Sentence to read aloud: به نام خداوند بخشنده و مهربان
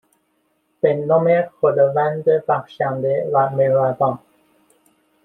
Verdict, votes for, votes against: accepted, 2, 0